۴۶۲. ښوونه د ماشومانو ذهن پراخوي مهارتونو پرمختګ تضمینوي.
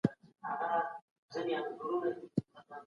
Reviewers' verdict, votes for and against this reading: rejected, 0, 2